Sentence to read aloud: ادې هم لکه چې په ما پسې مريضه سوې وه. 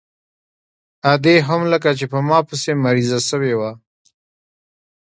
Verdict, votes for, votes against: accepted, 2, 0